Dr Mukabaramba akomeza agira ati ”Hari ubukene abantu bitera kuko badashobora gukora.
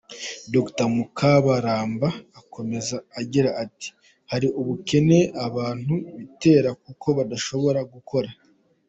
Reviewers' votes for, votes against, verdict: 2, 1, accepted